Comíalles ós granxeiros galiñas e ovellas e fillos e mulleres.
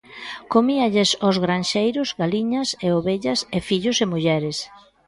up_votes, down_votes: 2, 0